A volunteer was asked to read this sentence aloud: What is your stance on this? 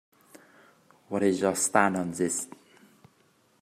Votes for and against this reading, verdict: 1, 2, rejected